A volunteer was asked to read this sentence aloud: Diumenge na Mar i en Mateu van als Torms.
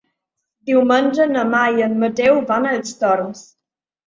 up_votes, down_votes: 4, 0